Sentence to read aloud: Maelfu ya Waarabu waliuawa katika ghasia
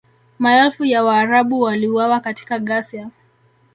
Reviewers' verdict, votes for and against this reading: rejected, 1, 2